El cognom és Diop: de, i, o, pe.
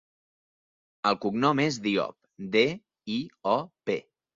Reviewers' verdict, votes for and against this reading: accepted, 2, 0